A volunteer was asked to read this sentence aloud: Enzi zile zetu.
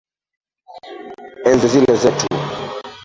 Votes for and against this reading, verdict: 0, 2, rejected